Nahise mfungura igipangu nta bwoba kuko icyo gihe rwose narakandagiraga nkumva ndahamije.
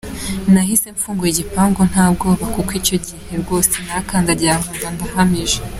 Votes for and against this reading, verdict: 2, 0, accepted